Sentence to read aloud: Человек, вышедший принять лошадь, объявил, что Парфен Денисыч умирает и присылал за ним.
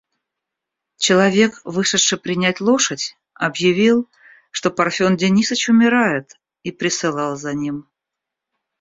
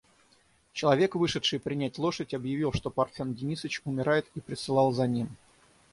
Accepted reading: first